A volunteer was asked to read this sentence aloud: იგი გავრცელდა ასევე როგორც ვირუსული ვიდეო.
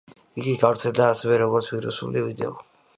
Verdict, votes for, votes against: accepted, 2, 0